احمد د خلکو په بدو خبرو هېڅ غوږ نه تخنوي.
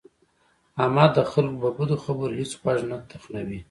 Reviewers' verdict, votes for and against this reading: rejected, 0, 2